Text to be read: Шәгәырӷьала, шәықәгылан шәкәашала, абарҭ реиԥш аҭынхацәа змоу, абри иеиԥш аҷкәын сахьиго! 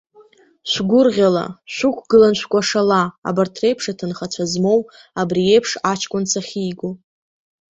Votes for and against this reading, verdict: 2, 0, accepted